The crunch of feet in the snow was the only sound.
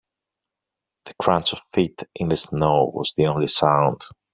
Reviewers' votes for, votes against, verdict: 2, 0, accepted